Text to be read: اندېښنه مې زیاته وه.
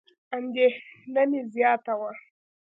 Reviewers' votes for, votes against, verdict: 2, 0, accepted